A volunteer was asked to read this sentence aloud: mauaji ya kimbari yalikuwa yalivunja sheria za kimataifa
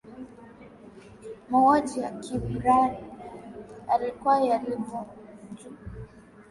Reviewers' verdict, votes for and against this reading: rejected, 1, 2